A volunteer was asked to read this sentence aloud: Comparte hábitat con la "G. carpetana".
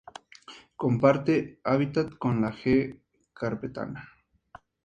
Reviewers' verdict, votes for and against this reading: accepted, 2, 0